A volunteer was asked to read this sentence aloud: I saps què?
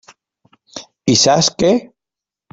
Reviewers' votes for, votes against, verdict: 3, 0, accepted